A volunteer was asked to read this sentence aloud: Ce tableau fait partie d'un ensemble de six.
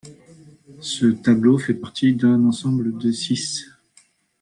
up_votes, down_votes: 2, 0